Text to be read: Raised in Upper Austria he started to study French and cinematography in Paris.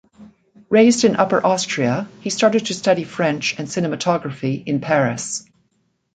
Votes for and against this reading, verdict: 2, 0, accepted